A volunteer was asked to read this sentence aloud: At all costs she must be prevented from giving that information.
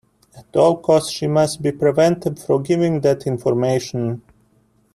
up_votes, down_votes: 1, 2